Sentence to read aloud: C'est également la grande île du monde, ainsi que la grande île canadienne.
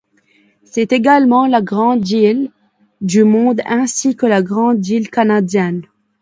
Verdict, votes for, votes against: accepted, 2, 0